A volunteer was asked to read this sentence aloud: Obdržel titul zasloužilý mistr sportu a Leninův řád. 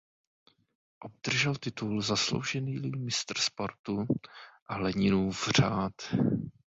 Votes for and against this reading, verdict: 1, 2, rejected